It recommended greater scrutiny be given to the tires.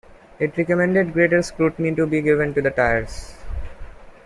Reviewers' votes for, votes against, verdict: 1, 2, rejected